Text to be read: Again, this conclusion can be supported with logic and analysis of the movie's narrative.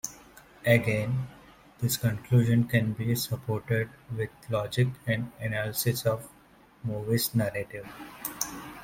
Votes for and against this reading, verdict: 1, 2, rejected